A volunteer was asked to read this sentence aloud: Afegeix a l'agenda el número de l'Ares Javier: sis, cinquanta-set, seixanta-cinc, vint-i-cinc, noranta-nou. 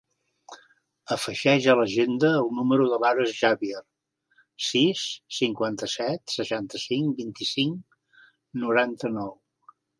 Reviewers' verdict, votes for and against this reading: rejected, 1, 2